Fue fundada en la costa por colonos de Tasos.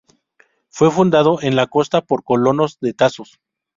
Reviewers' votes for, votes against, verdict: 0, 2, rejected